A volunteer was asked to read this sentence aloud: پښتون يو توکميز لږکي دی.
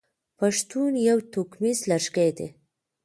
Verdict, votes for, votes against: accepted, 2, 1